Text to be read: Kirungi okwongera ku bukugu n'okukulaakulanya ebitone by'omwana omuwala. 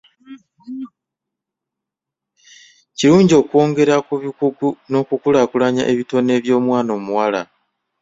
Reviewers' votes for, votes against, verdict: 2, 0, accepted